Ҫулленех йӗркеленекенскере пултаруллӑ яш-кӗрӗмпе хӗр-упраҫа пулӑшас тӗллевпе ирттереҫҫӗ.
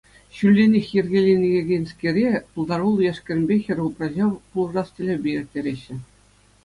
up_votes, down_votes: 2, 0